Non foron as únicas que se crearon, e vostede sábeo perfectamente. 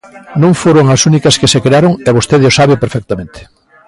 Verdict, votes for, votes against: rejected, 1, 2